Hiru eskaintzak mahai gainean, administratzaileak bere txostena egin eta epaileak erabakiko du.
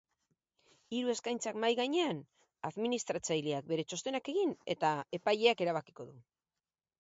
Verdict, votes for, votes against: rejected, 0, 2